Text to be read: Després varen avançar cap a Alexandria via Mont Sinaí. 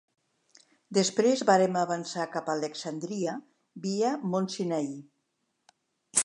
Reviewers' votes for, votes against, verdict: 1, 2, rejected